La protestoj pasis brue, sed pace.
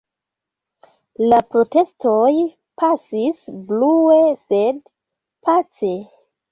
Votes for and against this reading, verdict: 2, 0, accepted